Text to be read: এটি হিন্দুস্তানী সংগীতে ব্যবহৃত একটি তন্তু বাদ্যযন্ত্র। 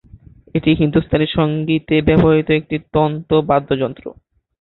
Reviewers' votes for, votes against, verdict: 1, 3, rejected